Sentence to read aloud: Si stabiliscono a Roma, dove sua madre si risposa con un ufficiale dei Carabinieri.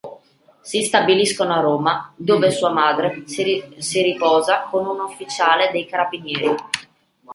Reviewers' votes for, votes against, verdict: 0, 2, rejected